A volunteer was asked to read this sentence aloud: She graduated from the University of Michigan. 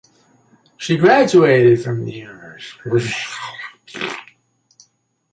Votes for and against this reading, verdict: 0, 2, rejected